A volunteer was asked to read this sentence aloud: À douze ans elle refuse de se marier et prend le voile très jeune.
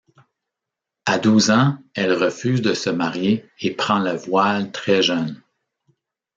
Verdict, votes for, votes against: rejected, 1, 2